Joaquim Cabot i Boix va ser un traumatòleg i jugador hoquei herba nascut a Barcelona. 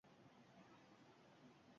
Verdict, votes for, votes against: rejected, 0, 2